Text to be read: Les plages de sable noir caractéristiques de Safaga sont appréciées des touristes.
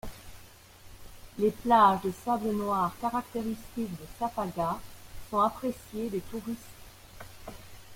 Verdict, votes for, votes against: rejected, 1, 2